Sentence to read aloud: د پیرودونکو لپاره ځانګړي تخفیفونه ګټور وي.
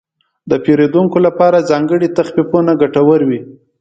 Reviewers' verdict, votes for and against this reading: accepted, 3, 0